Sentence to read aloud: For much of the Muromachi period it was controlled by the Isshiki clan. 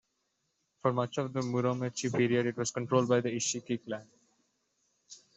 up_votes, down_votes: 2, 0